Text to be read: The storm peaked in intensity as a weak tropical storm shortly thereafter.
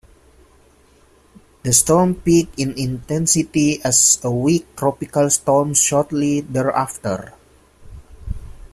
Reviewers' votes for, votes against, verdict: 1, 2, rejected